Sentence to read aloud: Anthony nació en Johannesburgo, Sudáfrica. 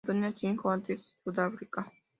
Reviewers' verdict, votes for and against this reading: rejected, 0, 2